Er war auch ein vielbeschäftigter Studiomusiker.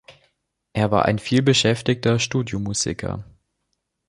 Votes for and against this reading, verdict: 0, 2, rejected